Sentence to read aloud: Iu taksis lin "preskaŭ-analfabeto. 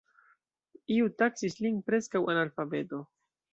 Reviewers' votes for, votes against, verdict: 2, 0, accepted